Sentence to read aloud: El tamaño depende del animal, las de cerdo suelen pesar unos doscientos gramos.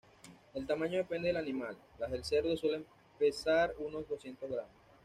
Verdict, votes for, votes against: rejected, 1, 2